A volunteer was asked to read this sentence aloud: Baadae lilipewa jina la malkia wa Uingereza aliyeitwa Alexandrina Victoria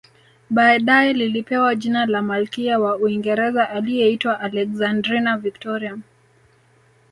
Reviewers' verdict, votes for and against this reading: accepted, 2, 0